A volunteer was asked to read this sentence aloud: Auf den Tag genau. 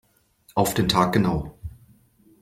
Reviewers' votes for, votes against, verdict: 2, 0, accepted